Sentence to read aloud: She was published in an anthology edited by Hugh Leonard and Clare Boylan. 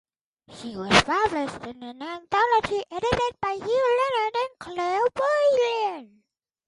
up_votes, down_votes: 2, 4